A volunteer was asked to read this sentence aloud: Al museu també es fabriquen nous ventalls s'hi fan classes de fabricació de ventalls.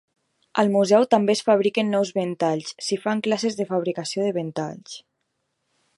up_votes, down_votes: 2, 0